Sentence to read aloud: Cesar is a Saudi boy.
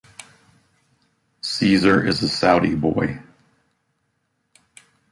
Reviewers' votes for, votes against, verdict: 2, 0, accepted